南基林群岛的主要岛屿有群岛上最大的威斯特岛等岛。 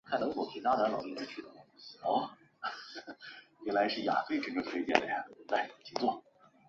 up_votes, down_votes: 0, 2